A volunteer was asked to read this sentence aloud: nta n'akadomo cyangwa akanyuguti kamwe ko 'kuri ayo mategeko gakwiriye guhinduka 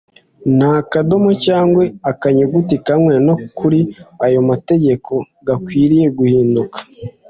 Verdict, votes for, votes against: rejected, 0, 2